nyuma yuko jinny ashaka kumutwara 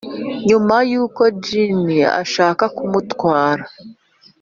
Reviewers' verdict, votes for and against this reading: accepted, 2, 0